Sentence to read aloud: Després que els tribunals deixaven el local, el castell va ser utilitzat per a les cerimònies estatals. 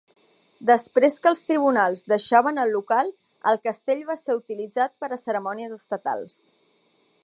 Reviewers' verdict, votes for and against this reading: rejected, 0, 2